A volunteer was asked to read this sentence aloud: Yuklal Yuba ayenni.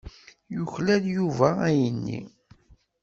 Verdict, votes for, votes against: accepted, 2, 0